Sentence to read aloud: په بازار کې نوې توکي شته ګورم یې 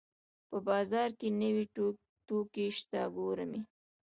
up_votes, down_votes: 2, 0